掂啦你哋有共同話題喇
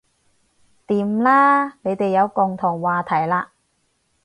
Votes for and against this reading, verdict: 4, 0, accepted